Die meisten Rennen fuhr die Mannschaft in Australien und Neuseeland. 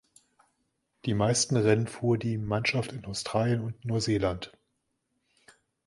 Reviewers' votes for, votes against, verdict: 2, 1, accepted